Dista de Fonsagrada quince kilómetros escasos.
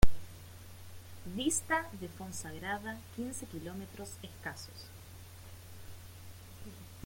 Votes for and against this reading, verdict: 2, 0, accepted